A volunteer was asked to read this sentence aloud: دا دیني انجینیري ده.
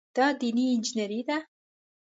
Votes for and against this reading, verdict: 2, 0, accepted